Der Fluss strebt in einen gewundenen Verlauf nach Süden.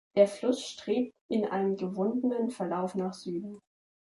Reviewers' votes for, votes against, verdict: 2, 0, accepted